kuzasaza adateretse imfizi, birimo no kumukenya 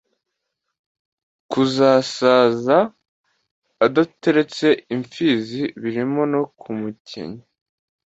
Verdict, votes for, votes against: accepted, 2, 0